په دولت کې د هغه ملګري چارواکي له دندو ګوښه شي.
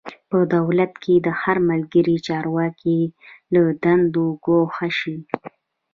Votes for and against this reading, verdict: 1, 2, rejected